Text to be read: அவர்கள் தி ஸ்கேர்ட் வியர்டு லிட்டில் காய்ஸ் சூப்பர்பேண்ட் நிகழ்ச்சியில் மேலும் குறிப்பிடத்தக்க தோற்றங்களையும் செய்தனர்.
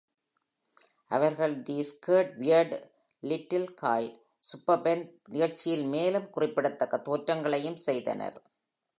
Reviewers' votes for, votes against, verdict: 2, 0, accepted